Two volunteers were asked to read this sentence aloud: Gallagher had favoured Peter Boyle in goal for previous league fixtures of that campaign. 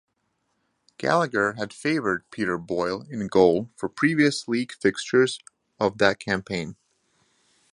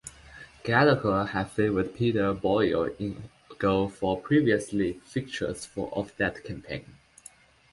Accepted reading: first